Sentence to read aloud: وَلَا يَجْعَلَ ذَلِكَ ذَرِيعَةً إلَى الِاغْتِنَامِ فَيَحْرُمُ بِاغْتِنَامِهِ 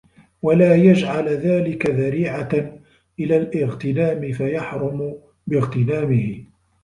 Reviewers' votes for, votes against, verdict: 2, 3, rejected